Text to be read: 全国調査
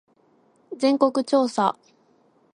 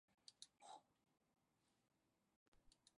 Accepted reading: first